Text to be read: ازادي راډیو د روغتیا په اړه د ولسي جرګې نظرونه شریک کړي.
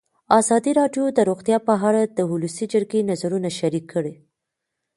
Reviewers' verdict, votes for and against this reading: rejected, 1, 2